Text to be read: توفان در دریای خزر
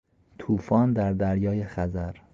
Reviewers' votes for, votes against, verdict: 2, 0, accepted